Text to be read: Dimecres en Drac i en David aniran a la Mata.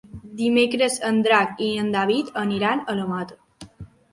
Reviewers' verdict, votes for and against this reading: accepted, 3, 0